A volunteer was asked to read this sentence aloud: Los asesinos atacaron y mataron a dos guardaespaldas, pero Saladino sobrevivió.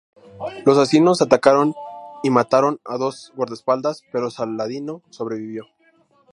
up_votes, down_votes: 0, 2